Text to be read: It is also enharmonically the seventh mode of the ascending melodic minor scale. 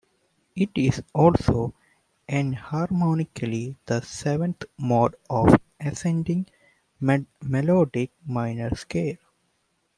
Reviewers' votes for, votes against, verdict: 1, 2, rejected